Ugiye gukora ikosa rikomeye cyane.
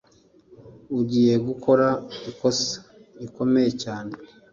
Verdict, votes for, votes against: accepted, 2, 0